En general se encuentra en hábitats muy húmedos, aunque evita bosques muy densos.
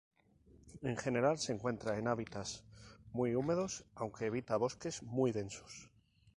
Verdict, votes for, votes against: accepted, 4, 0